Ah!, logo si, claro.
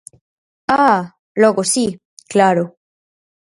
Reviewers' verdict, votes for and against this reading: accepted, 4, 0